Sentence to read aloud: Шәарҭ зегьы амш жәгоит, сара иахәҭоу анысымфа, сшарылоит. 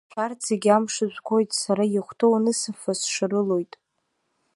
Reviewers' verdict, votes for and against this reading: accepted, 2, 0